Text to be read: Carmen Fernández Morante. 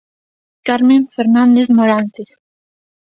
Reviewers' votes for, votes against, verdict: 2, 0, accepted